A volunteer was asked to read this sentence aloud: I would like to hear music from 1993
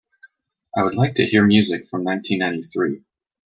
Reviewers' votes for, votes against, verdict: 0, 2, rejected